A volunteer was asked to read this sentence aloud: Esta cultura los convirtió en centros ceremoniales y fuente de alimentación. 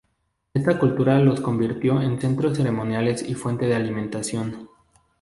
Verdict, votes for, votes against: rejected, 0, 2